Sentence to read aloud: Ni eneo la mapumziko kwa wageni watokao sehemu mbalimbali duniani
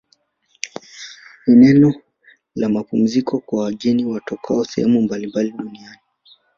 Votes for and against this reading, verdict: 1, 2, rejected